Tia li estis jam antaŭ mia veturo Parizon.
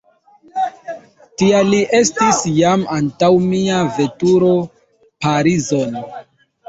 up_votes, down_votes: 2, 0